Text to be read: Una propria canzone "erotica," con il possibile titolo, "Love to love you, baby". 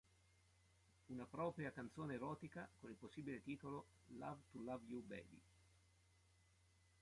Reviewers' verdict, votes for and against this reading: rejected, 1, 2